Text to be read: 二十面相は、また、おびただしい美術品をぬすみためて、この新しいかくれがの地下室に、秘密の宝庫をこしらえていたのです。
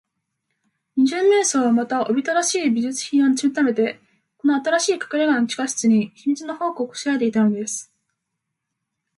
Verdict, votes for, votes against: accepted, 2, 0